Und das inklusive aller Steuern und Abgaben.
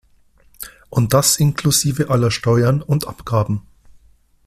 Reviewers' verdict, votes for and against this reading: accepted, 2, 0